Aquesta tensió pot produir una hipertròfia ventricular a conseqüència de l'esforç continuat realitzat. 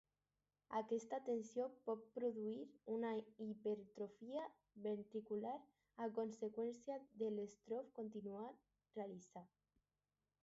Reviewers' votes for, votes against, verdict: 4, 2, accepted